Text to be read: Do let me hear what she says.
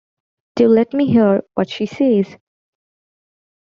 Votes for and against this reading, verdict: 2, 0, accepted